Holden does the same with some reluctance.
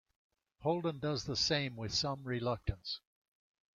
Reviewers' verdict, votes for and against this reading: accepted, 2, 0